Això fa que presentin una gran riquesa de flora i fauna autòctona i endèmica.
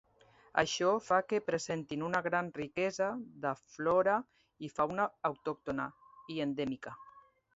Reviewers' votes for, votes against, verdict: 2, 0, accepted